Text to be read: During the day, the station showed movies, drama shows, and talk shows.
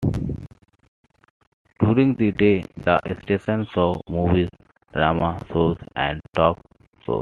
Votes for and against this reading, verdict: 2, 1, accepted